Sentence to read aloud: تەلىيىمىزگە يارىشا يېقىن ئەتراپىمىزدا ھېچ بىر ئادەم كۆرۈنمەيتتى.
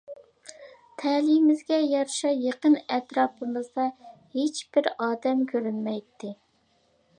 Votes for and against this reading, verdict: 2, 0, accepted